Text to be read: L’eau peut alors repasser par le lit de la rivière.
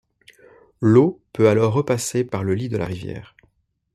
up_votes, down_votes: 2, 0